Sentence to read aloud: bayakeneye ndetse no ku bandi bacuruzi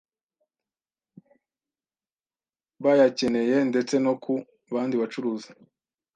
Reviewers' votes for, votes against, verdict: 2, 0, accepted